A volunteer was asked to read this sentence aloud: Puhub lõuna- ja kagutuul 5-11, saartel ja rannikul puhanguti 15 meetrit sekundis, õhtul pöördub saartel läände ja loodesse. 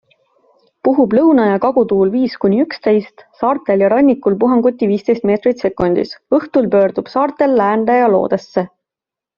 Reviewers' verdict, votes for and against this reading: rejected, 0, 2